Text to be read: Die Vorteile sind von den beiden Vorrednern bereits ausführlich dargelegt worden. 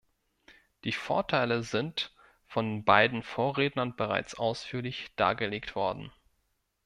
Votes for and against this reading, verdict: 0, 2, rejected